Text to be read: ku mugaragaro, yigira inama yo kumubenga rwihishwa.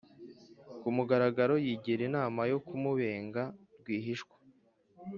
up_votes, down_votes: 2, 0